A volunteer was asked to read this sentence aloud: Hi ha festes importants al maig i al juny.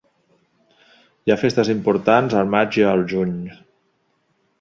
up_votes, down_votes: 2, 0